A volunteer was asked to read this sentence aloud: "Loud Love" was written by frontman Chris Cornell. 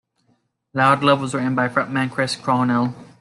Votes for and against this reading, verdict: 3, 0, accepted